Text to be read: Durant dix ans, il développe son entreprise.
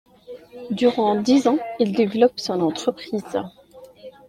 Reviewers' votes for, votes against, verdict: 2, 0, accepted